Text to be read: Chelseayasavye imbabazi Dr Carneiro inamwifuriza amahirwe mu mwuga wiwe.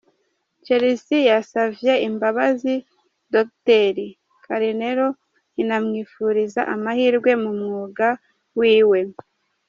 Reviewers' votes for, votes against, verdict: 3, 0, accepted